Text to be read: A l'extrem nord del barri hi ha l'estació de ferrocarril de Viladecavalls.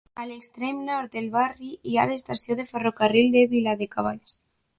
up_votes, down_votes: 2, 0